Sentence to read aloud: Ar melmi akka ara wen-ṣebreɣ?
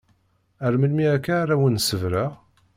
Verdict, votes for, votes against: rejected, 1, 2